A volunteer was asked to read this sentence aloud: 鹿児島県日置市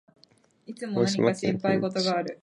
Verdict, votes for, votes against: rejected, 1, 2